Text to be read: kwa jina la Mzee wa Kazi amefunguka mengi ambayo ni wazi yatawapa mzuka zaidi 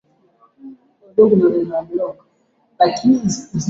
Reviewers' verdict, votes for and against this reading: rejected, 0, 2